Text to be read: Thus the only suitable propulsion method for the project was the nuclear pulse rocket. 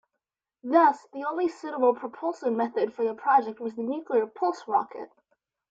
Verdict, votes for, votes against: accepted, 2, 1